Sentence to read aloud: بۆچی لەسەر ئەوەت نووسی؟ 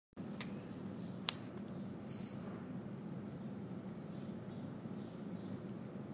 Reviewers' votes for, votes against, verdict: 0, 2, rejected